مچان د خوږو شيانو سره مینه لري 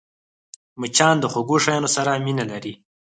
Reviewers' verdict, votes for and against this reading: rejected, 0, 4